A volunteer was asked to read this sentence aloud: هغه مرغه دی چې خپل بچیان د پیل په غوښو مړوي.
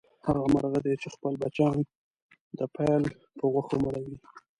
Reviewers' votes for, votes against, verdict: 1, 2, rejected